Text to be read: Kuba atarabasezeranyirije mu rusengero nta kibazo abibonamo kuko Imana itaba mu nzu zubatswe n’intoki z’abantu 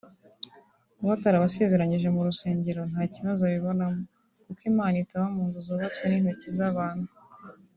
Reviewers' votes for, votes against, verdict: 2, 1, accepted